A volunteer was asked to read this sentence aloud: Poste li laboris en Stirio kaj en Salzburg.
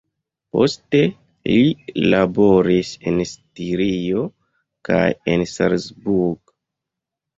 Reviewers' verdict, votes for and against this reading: rejected, 1, 2